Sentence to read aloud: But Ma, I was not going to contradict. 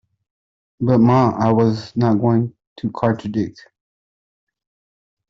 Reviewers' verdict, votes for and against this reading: rejected, 1, 2